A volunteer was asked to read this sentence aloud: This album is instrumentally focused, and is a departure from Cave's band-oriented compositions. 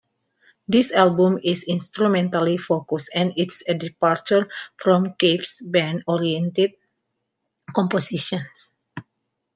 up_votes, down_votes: 1, 2